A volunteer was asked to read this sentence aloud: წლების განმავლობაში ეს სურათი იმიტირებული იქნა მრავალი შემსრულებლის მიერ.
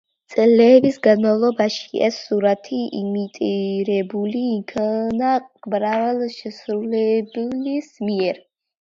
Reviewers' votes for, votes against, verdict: 1, 2, rejected